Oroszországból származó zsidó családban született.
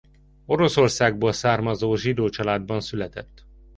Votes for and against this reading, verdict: 2, 0, accepted